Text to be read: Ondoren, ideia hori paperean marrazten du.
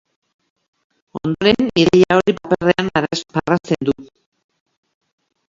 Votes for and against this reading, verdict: 0, 4, rejected